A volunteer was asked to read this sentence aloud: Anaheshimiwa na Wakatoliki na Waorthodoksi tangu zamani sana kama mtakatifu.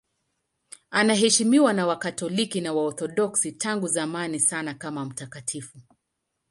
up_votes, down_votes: 2, 0